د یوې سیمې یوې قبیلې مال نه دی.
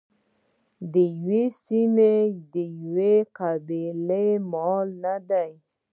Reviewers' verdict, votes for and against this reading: accepted, 2, 0